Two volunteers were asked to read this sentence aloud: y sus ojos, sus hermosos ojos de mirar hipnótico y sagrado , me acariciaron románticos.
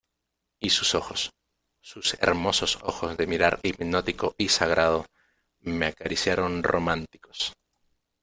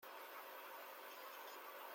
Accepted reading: first